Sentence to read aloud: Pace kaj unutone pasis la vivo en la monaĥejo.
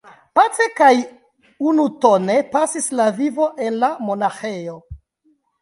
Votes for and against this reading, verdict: 2, 1, accepted